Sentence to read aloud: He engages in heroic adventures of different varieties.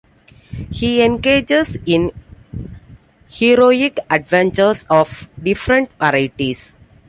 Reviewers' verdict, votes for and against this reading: accepted, 2, 0